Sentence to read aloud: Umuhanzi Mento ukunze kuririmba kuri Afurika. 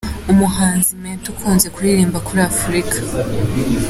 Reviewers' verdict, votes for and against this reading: accepted, 2, 0